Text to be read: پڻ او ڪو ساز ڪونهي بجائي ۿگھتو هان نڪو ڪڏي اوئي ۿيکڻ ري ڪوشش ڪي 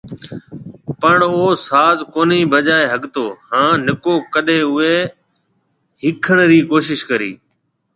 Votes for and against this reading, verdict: 2, 0, accepted